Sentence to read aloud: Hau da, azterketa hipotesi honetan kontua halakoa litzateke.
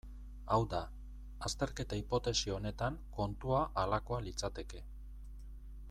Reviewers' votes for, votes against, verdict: 2, 0, accepted